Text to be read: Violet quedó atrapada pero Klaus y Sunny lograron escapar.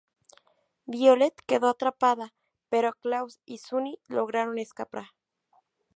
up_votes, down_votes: 2, 0